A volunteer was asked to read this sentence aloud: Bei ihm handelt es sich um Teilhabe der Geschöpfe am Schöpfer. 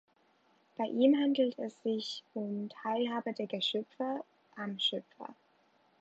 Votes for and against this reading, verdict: 2, 1, accepted